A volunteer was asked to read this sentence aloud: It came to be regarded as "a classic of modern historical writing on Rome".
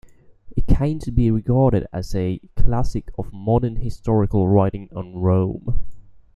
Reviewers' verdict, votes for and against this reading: accepted, 2, 0